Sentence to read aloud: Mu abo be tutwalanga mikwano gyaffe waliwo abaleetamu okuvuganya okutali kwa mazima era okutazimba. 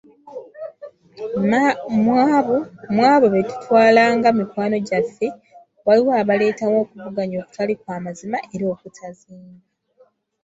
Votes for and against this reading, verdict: 0, 2, rejected